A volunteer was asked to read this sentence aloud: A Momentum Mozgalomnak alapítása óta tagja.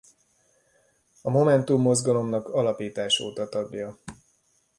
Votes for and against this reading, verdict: 1, 2, rejected